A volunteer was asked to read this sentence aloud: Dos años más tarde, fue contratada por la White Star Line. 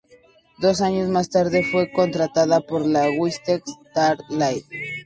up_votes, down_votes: 0, 4